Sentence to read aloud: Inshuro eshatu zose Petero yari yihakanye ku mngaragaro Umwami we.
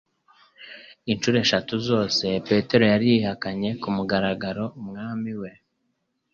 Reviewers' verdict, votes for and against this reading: accepted, 2, 0